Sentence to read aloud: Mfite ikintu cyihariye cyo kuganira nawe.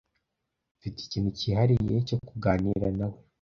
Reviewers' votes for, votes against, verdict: 2, 0, accepted